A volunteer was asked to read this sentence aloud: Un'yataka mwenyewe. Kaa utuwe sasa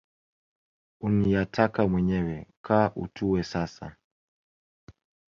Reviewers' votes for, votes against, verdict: 2, 3, rejected